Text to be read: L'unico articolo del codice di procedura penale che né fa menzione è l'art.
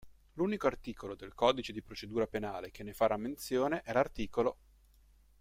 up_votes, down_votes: 0, 2